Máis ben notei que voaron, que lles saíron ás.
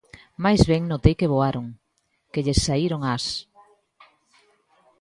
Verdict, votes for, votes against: accepted, 2, 0